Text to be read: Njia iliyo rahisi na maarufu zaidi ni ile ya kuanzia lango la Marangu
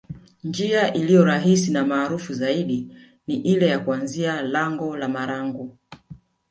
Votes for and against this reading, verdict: 1, 2, rejected